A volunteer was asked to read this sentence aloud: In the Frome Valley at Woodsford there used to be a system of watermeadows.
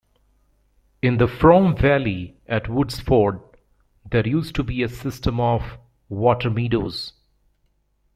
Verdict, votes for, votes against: rejected, 1, 2